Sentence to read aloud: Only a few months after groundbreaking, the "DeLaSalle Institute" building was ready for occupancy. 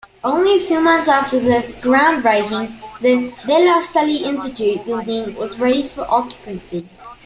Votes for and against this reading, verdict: 0, 2, rejected